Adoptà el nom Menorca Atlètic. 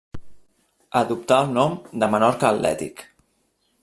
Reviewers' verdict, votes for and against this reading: rejected, 0, 2